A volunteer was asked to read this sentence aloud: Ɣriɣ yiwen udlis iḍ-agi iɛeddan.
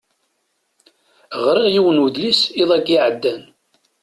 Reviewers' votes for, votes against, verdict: 2, 0, accepted